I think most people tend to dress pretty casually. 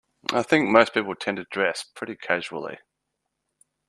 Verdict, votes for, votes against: accepted, 2, 0